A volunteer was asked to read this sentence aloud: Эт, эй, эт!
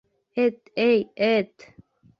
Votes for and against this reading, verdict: 2, 0, accepted